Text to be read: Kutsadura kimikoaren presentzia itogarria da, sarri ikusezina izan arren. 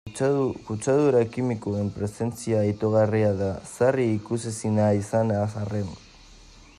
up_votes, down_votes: 1, 2